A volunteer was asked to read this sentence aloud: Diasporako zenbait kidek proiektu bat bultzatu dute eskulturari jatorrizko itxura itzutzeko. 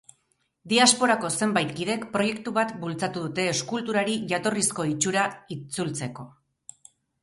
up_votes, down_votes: 4, 2